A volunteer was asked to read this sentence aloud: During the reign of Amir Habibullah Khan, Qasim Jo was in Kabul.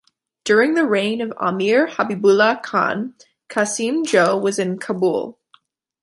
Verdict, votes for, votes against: accepted, 2, 0